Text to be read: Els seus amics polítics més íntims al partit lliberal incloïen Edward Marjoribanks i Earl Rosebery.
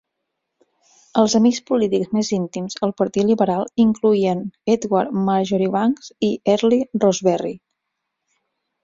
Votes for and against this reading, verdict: 0, 6, rejected